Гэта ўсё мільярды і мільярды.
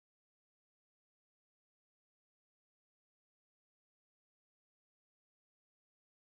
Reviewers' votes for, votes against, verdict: 0, 3, rejected